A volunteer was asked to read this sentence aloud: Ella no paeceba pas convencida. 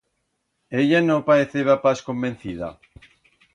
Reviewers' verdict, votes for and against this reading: accepted, 2, 0